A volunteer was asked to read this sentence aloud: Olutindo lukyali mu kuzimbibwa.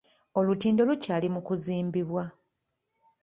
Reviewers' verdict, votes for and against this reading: accepted, 2, 0